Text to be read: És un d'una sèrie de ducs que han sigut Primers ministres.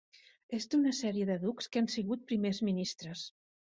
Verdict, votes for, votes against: rejected, 1, 2